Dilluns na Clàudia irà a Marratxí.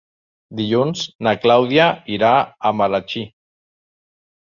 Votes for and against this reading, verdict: 0, 2, rejected